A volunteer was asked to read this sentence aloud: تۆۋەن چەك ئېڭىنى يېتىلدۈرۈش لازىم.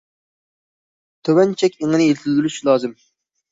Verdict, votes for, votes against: accepted, 2, 0